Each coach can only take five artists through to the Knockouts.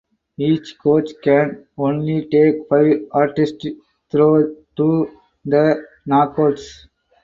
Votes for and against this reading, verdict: 0, 4, rejected